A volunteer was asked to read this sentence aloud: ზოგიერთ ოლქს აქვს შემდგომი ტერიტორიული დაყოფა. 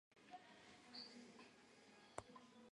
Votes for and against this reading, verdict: 0, 2, rejected